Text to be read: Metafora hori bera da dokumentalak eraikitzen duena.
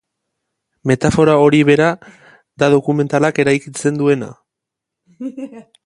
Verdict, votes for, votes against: rejected, 1, 2